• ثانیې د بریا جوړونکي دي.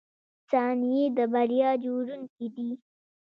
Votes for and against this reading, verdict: 1, 2, rejected